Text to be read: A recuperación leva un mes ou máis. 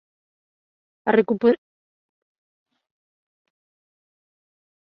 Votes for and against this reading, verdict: 0, 2, rejected